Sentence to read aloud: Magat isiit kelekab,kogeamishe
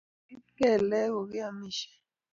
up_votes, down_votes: 1, 2